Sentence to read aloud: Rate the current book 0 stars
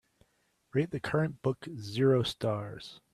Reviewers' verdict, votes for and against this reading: rejected, 0, 2